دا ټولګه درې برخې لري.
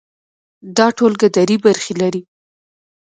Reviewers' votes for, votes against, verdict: 0, 2, rejected